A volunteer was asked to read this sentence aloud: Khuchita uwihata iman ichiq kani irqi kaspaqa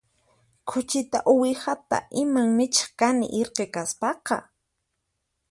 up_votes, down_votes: 2, 4